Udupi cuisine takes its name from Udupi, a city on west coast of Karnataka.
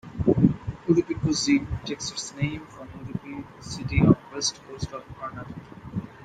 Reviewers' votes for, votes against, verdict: 0, 2, rejected